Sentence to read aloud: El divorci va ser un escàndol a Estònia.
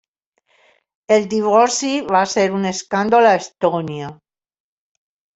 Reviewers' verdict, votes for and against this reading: accepted, 3, 1